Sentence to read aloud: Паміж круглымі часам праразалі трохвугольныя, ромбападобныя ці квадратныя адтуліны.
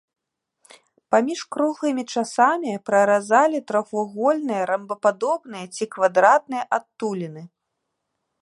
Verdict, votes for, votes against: rejected, 1, 2